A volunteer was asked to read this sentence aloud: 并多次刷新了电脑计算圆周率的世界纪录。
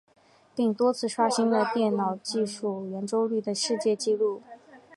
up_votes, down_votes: 0, 2